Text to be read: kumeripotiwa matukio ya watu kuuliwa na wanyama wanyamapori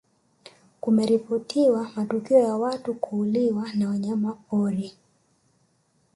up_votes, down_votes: 1, 2